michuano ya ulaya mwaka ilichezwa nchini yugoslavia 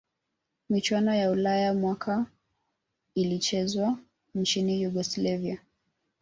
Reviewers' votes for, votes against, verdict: 1, 2, rejected